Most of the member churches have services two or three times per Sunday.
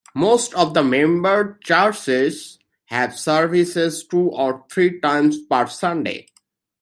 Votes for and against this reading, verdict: 2, 0, accepted